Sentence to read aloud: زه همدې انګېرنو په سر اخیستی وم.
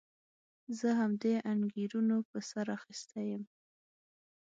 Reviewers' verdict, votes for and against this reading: accepted, 6, 0